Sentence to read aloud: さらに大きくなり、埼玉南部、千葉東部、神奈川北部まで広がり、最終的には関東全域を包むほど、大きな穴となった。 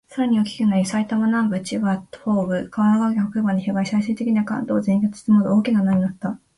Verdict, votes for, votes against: rejected, 2, 4